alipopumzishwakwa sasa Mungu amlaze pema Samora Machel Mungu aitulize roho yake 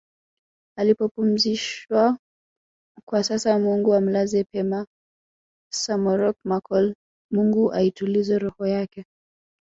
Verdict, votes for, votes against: rejected, 0, 2